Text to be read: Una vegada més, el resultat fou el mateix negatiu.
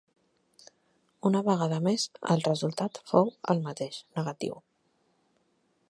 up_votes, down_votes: 4, 0